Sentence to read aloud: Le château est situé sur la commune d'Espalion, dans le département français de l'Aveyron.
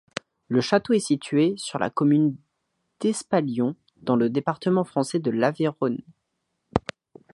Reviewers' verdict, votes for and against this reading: rejected, 1, 2